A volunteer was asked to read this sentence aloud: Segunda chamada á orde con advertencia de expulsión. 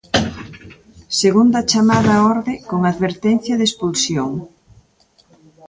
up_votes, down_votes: 1, 2